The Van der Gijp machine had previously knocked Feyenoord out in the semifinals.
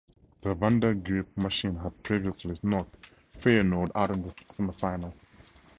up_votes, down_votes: 0, 2